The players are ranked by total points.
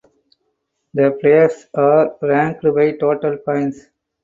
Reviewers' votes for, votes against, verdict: 0, 4, rejected